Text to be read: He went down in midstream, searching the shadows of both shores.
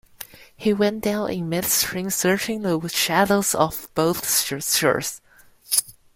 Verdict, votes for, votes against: rejected, 0, 2